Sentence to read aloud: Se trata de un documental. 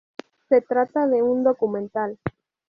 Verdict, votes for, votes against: rejected, 0, 2